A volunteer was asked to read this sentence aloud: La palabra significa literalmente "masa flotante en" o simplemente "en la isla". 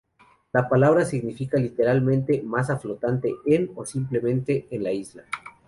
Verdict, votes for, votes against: rejected, 0, 2